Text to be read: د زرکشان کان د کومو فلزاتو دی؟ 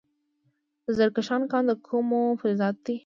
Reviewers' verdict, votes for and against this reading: accepted, 2, 1